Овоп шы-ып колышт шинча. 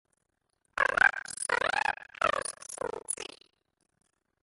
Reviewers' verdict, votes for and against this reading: rejected, 0, 2